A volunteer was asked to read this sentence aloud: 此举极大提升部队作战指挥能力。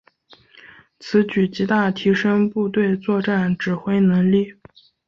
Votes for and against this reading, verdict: 4, 0, accepted